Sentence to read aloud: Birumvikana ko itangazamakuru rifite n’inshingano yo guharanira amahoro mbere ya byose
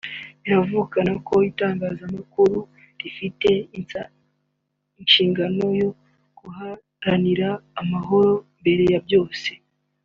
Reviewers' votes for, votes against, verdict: 0, 3, rejected